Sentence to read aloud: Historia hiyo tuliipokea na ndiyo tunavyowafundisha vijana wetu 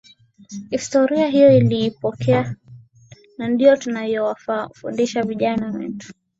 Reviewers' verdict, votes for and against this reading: accepted, 9, 6